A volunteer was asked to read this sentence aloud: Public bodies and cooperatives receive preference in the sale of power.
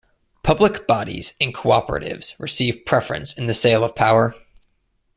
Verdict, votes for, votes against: accepted, 2, 0